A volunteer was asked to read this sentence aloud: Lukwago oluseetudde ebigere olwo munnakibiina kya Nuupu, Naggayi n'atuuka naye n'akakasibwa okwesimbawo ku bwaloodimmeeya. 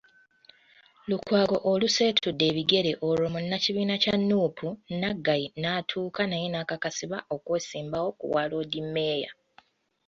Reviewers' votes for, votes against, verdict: 1, 2, rejected